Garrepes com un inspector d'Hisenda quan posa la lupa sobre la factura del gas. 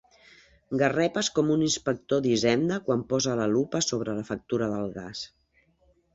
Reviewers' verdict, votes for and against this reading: accepted, 5, 0